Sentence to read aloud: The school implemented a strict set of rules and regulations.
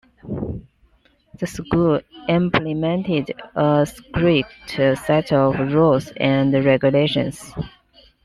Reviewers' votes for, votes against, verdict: 2, 0, accepted